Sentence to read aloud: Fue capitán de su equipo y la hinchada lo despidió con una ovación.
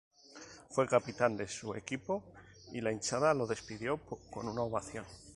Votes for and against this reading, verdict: 2, 0, accepted